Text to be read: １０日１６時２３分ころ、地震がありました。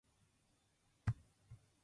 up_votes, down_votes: 0, 2